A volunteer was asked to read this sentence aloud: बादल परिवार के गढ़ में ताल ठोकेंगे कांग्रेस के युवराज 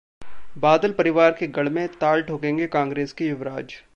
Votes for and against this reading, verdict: 2, 1, accepted